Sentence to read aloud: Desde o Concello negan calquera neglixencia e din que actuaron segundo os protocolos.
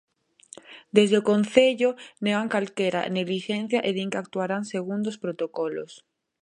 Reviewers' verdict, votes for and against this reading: rejected, 0, 2